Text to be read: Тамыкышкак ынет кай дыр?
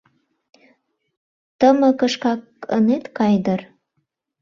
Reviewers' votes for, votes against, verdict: 0, 2, rejected